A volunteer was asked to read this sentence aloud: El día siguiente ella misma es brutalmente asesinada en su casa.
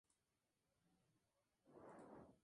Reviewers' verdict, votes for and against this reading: rejected, 0, 2